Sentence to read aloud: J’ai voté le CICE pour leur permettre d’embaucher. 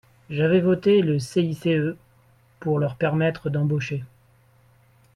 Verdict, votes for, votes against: rejected, 0, 2